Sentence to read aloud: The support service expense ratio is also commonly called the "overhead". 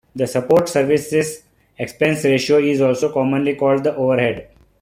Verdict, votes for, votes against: rejected, 0, 2